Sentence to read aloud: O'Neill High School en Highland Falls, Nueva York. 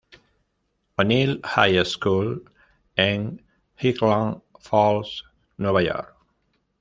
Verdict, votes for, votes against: rejected, 1, 2